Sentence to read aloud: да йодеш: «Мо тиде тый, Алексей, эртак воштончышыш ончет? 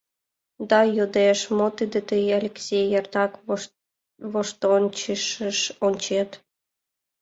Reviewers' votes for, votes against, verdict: 1, 2, rejected